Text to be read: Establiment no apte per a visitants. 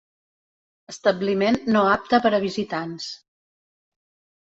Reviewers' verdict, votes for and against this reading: accepted, 3, 0